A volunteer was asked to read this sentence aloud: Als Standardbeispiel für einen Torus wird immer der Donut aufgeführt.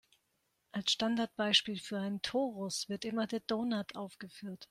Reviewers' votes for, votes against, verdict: 4, 0, accepted